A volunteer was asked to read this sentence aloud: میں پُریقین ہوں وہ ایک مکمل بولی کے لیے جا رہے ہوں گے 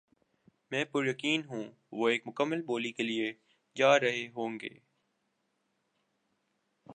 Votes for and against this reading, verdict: 2, 0, accepted